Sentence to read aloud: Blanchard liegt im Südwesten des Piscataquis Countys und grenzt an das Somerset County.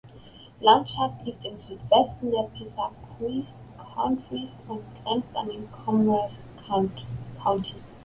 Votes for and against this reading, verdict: 0, 2, rejected